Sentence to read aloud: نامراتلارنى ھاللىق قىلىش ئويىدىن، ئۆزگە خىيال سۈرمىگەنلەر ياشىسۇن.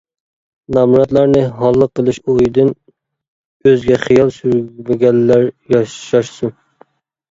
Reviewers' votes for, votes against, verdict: 0, 2, rejected